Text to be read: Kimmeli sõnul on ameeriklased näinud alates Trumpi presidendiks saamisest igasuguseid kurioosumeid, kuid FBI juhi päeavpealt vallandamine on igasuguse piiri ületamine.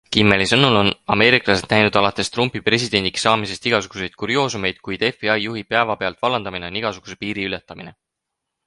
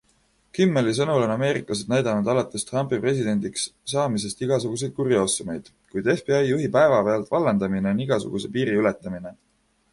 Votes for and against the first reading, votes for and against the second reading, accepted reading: 6, 0, 0, 2, first